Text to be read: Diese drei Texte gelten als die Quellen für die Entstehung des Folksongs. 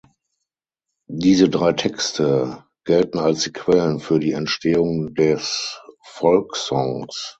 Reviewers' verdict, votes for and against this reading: rejected, 3, 6